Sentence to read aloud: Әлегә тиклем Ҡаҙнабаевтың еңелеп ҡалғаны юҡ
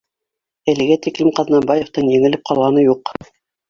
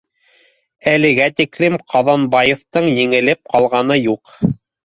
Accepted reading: first